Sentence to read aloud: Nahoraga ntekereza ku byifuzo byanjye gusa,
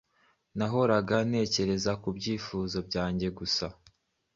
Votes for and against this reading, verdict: 2, 0, accepted